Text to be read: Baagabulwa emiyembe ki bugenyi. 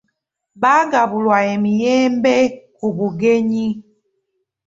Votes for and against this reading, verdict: 2, 1, accepted